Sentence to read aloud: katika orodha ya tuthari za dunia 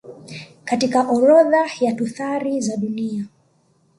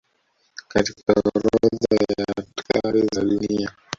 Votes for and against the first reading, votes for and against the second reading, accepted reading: 2, 0, 1, 2, first